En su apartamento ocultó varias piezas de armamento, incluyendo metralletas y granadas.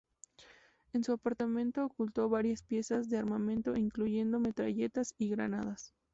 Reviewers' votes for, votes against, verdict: 2, 0, accepted